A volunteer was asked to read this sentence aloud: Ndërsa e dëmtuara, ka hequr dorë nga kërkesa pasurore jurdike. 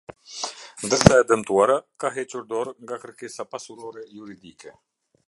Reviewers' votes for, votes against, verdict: 2, 0, accepted